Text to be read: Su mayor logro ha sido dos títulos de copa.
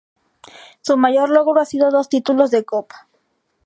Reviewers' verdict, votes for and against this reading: accepted, 4, 0